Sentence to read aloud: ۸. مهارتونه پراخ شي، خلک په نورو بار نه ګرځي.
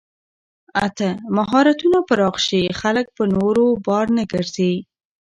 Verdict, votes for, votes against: rejected, 0, 2